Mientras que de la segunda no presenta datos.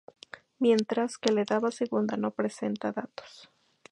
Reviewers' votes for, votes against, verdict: 0, 2, rejected